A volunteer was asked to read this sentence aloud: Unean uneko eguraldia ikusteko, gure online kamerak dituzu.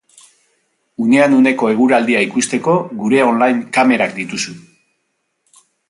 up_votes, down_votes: 2, 0